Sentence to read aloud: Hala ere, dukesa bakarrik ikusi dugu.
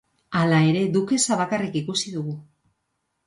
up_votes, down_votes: 2, 0